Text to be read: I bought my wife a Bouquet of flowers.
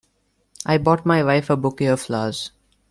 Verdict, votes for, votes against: rejected, 0, 2